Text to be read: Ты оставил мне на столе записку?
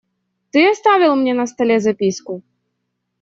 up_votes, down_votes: 2, 0